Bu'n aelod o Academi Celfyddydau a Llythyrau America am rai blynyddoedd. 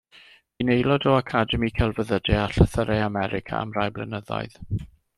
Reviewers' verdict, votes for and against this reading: accepted, 2, 0